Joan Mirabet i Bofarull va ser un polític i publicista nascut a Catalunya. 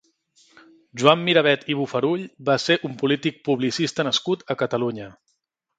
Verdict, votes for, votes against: rejected, 1, 2